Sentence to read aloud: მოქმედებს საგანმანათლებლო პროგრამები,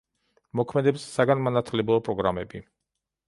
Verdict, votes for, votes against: accepted, 2, 0